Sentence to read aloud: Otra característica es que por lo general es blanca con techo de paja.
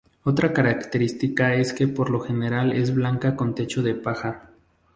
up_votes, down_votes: 2, 0